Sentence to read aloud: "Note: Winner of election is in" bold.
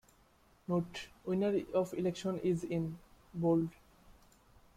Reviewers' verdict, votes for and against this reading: accepted, 2, 0